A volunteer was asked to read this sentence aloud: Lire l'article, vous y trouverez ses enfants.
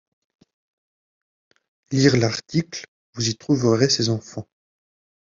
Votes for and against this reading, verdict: 2, 0, accepted